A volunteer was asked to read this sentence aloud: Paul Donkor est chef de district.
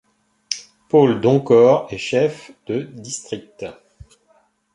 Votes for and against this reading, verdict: 1, 2, rejected